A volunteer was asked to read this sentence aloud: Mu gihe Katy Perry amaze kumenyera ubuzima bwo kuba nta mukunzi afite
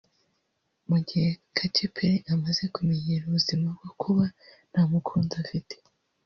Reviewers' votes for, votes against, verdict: 2, 0, accepted